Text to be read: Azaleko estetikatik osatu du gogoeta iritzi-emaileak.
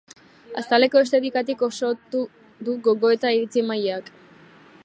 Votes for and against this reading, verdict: 1, 2, rejected